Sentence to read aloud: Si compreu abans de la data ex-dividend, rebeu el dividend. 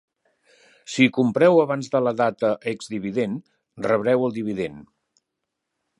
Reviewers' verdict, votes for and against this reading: rejected, 1, 3